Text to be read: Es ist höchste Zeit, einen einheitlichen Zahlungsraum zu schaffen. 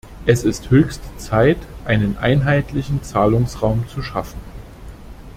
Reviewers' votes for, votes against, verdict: 2, 0, accepted